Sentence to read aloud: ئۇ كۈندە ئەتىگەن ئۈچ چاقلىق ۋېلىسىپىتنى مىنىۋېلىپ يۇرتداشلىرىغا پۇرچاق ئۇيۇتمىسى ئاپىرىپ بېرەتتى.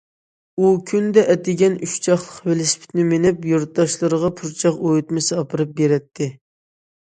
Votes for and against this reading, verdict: 0, 2, rejected